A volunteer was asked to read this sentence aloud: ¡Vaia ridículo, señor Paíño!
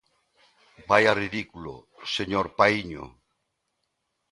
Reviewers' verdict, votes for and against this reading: accepted, 2, 0